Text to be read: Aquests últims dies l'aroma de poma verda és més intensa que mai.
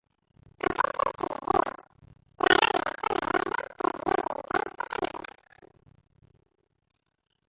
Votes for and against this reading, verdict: 0, 2, rejected